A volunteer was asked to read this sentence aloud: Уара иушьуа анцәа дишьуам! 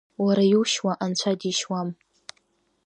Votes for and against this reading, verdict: 2, 0, accepted